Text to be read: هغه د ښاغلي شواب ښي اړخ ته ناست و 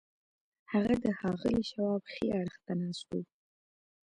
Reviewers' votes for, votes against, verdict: 2, 0, accepted